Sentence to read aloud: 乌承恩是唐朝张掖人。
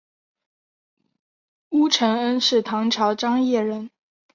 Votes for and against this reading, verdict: 3, 0, accepted